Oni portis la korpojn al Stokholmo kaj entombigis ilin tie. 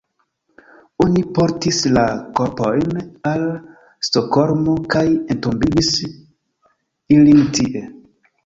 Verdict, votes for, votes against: rejected, 1, 2